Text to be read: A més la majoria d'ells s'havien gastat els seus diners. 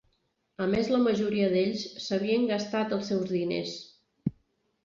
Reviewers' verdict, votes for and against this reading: accepted, 4, 0